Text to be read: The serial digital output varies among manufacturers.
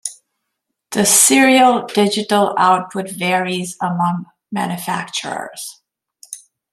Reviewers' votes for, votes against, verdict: 2, 0, accepted